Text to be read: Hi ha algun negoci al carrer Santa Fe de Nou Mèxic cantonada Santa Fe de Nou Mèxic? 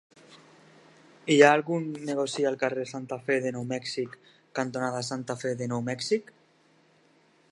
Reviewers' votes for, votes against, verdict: 2, 0, accepted